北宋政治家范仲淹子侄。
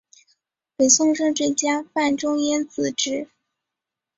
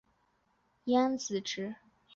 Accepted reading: first